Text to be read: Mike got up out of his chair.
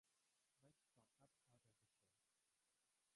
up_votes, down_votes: 0, 3